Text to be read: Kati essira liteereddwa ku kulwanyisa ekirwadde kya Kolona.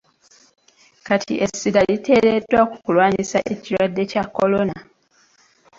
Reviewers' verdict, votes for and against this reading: accepted, 2, 1